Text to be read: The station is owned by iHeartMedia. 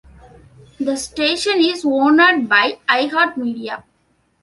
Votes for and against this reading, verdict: 1, 2, rejected